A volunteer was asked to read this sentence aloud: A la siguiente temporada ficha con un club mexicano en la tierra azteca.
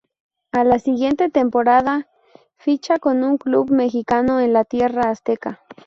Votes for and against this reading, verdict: 0, 2, rejected